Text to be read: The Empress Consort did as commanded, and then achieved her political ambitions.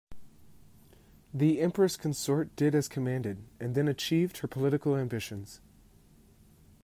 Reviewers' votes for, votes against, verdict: 2, 0, accepted